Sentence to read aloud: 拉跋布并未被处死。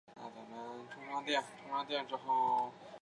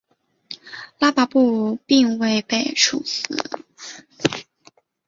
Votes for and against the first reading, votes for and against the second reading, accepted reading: 0, 2, 3, 0, second